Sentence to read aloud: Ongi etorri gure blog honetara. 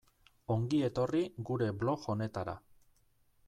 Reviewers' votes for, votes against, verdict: 2, 0, accepted